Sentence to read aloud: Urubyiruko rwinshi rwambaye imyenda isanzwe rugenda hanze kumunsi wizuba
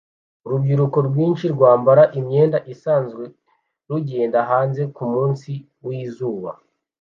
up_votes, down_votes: 2, 0